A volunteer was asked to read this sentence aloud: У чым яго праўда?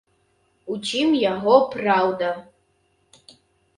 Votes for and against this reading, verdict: 2, 0, accepted